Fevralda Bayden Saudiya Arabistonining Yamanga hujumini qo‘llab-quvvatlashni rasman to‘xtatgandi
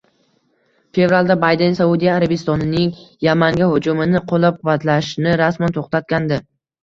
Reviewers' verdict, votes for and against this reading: rejected, 0, 2